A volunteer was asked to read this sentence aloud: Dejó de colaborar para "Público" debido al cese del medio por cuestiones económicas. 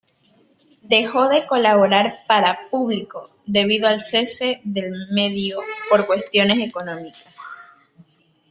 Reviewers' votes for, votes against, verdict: 0, 2, rejected